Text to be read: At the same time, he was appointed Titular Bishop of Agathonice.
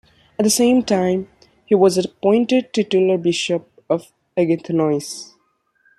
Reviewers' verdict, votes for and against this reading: accepted, 2, 0